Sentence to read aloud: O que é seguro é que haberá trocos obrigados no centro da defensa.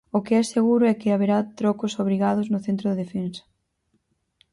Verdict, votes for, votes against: accepted, 4, 0